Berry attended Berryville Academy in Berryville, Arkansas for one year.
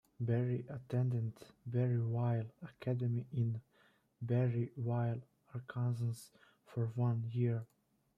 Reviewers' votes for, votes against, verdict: 0, 2, rejected